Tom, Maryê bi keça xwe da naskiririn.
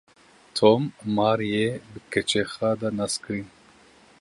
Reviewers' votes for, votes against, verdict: 0, 2, rejected